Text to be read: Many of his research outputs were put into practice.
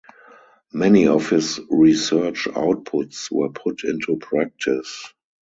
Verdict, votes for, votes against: accepted, 4, 0